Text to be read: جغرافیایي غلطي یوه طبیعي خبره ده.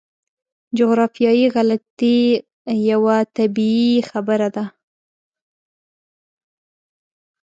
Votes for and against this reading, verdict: 2, 0, accepted